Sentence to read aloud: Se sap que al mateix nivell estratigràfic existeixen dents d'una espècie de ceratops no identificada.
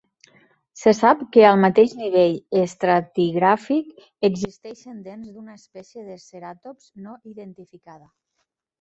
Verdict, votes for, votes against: rejected, 1, 3